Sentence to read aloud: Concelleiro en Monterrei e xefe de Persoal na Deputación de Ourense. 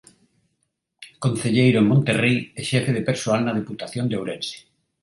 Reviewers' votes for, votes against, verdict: 2, 0, accepted